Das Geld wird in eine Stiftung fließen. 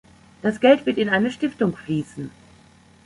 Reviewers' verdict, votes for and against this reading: accepted, 2, 0